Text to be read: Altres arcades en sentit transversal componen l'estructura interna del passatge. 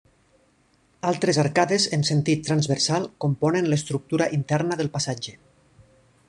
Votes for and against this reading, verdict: 3, 1, accepted